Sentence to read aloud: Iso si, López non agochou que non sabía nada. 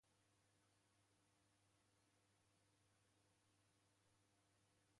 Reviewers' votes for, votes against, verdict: 0, 2, rejected